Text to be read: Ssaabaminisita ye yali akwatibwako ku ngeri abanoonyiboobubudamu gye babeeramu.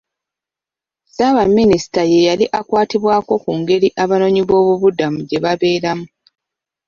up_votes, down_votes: 2, 0